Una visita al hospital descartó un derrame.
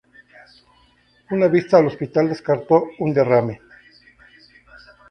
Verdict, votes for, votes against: rejected, 0, 2